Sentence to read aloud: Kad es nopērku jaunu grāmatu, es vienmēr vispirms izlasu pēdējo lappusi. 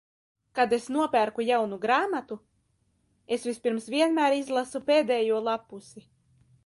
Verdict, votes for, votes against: rejected, 0, 2